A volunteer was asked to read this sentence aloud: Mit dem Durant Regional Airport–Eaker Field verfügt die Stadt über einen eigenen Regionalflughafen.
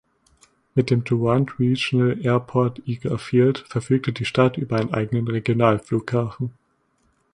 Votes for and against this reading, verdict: 1, 2, rejected